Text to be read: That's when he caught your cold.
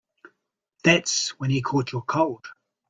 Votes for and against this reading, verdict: 3, 0, accepted